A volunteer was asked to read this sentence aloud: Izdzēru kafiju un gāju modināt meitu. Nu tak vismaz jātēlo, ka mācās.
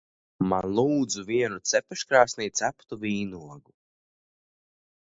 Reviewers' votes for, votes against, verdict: 0, 2, rejected